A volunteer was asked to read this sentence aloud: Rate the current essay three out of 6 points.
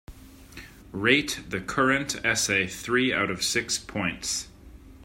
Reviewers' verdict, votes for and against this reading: rejected, 0, 2